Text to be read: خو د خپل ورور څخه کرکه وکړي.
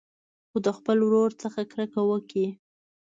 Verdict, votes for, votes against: accepted, 2, 0